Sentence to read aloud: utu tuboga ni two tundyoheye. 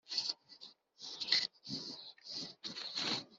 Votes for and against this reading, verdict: 0, 3, rejected